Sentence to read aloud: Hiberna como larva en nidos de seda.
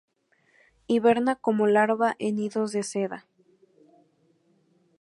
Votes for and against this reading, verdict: 2, 2, rejected